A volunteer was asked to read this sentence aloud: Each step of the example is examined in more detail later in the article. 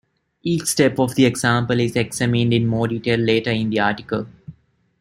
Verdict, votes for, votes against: rejected, 1, 2